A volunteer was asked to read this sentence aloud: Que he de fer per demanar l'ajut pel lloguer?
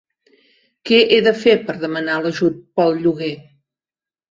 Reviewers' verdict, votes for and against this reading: accepted, 4, 0